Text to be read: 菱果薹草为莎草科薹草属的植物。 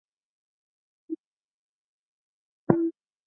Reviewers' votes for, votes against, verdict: 0, 3, rejected